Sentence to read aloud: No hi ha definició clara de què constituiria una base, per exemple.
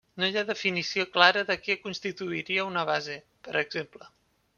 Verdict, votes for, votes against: accepted, 3, 0